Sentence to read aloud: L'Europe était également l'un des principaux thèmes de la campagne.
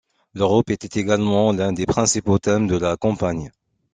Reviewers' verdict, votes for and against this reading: accepted, 2, 0